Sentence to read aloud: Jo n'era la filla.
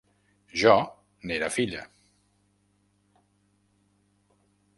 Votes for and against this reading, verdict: 1, 2, rejected